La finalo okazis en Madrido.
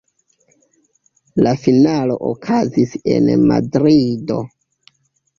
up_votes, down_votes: 2, 1